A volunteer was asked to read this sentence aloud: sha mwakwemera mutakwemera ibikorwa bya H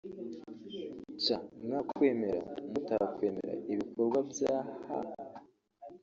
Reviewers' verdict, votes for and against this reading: accepted, 2, 1